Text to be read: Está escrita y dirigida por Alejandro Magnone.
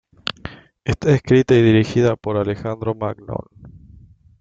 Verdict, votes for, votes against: rejected, 1, 2